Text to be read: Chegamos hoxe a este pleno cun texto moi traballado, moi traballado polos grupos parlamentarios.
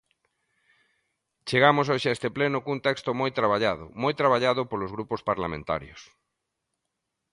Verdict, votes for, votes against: accepted, 2, 0